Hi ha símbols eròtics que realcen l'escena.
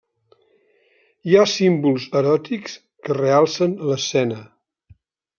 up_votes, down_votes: 3, 0